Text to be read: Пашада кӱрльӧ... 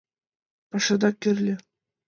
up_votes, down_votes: 2, 0